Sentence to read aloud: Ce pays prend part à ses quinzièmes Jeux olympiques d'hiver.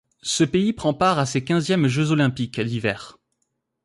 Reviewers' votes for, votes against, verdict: 2, 0, accepted